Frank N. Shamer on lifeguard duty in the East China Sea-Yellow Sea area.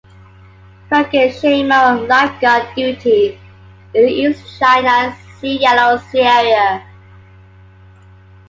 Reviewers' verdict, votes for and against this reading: accepted, 2, 0